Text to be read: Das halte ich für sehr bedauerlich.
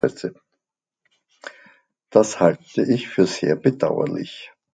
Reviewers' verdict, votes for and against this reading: rejected, 0, 2